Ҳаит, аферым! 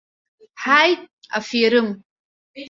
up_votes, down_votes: 1, 2